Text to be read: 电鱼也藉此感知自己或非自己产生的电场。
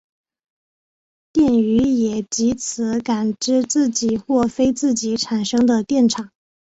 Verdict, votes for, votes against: accepted, 3, 1